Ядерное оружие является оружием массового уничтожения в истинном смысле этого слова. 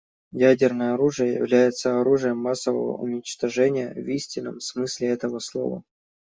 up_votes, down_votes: 2, 0